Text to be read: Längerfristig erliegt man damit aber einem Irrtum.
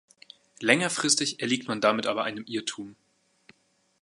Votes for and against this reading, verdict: 2, 0, accepted